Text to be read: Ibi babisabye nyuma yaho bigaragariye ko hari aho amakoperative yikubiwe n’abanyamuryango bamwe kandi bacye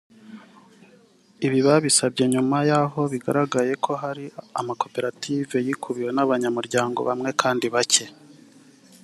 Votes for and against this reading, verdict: 3, 1, accepted